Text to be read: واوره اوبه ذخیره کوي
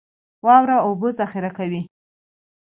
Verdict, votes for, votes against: accepted, 2, 0